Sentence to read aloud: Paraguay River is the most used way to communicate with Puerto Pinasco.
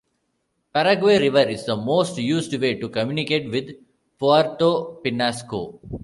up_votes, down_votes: 2, 1